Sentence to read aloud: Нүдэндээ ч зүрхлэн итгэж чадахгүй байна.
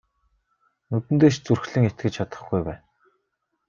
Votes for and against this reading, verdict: 1, 2, rejected